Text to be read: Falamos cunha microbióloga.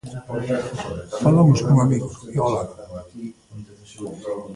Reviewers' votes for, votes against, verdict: 0, 2, rejected